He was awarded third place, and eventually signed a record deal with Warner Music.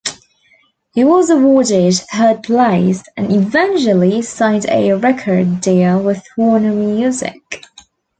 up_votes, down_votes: 2, 1